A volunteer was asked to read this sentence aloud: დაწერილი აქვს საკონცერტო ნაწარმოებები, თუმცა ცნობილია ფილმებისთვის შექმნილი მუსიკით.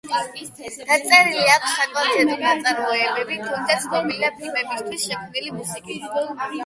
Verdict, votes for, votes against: rejected, 4, 8